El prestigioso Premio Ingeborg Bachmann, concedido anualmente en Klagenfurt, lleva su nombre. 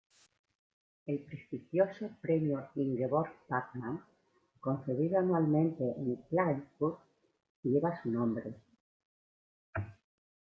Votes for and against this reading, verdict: 2, 0, accepted